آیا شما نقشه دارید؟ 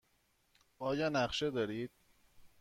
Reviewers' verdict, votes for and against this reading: rejected, 1, 2